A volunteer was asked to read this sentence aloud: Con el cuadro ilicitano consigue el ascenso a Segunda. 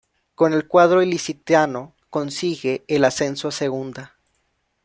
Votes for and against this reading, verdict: 0, 2, rejected